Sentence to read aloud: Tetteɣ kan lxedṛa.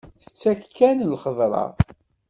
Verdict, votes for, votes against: rejected, 1, 2